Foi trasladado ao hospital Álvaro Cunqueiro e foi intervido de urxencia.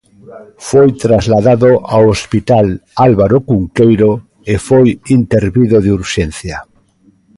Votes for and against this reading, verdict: 2, 0, accepted